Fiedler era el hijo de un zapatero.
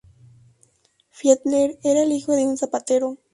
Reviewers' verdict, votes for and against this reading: rejected, 2, 2